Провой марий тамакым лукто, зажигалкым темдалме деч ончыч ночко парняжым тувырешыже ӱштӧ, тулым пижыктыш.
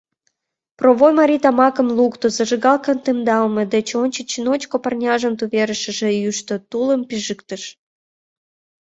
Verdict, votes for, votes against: rejected, 1, 2